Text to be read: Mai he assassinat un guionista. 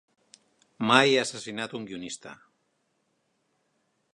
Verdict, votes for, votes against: accepted, 2, 0